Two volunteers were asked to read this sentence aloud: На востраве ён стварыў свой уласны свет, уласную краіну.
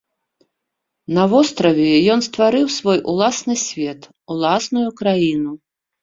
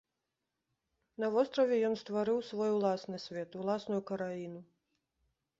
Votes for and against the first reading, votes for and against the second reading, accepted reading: 2, 0, 1, 2, first